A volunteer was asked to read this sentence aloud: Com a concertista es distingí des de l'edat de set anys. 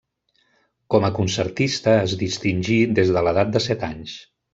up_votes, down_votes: 1, 2